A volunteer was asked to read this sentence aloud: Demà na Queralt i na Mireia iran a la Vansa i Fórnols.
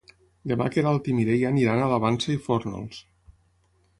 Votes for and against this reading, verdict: 0, 6, rejected